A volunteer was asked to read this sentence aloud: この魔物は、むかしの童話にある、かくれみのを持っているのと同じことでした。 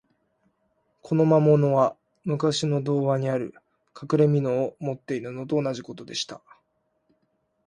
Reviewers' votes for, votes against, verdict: 2, 0, accepted